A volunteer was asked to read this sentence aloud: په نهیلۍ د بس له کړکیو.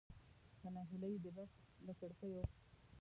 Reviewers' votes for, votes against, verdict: 0, 2, rejected